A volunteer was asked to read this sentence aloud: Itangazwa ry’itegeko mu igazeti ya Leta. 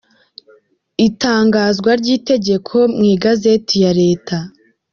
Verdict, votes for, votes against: rejected, 1, 2